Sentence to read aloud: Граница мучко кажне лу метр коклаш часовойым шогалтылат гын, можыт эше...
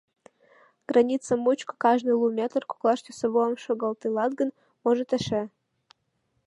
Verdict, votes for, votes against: rejected, 1, 2